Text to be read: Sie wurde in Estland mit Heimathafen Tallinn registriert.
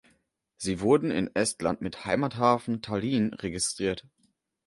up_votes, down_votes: 1, 2